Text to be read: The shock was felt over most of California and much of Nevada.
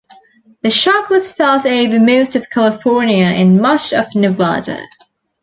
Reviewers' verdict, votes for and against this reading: accepted, 3, 0